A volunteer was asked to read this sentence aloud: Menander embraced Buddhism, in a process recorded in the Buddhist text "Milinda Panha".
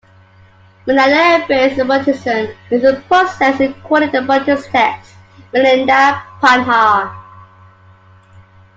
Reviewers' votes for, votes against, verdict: 0, 2, rejected